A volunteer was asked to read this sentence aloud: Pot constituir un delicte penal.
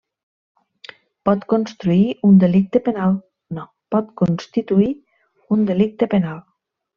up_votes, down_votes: 1, 2